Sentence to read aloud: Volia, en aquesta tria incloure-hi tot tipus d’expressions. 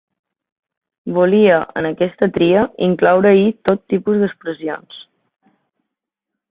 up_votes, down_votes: 3, 0